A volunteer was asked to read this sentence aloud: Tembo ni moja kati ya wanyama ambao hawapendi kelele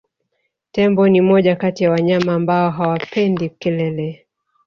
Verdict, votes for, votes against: rejected, 1, 2